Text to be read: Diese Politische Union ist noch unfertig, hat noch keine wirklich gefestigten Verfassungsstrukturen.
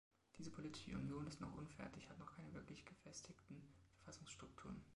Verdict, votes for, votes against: rejected, 0, 2